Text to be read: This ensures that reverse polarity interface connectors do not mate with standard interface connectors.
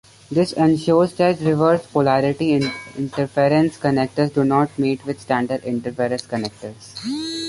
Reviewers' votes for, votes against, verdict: 0, 2, rejected